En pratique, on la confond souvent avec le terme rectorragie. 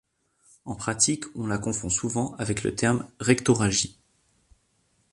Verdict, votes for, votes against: accepted, 2, 0